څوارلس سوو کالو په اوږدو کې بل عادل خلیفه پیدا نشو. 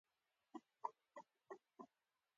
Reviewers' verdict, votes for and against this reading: accepted, 2, 1